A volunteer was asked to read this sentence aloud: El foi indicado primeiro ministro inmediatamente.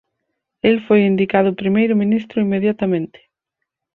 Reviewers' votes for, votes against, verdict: 4, 0, accepted